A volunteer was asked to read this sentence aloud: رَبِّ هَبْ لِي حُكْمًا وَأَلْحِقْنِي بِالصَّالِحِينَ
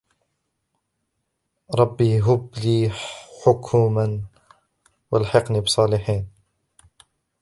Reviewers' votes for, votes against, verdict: 1, 2, rejected